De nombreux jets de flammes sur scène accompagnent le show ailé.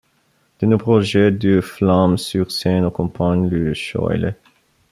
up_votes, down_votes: 1, 2